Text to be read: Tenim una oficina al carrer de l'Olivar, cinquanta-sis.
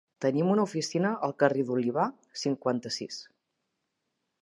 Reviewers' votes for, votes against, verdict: 2, 1, accepted